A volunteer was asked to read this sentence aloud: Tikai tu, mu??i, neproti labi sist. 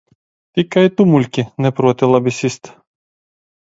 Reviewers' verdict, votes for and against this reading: rejected, 0, 2